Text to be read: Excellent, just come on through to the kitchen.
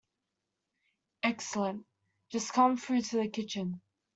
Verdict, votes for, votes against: rejected, 0, 2